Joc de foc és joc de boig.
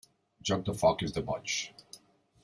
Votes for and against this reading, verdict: 0, 2, rejected